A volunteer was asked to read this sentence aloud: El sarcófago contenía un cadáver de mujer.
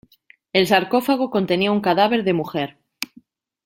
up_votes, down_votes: 2, 0